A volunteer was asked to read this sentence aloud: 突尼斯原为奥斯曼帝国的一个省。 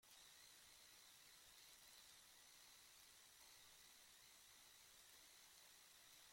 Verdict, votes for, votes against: rejected, 0, 2